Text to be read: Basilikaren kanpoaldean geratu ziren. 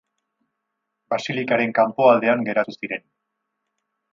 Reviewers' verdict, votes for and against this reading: accepted, 4, 0